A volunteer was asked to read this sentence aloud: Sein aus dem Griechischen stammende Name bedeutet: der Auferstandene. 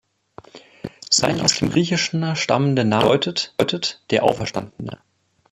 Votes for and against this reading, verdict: 0, 2, rejected